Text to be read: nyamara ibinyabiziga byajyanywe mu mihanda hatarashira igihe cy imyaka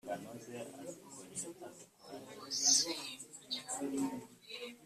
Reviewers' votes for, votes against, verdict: 1, 2, rejected